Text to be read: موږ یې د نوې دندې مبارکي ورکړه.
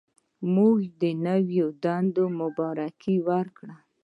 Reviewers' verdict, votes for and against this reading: rejected, 0, 2